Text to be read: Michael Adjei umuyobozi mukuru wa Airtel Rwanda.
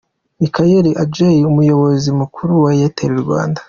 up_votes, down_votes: 2, 0